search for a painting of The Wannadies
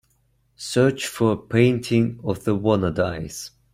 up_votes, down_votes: 2, 0